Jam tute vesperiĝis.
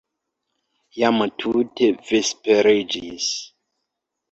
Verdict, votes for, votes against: rejected, 1, 2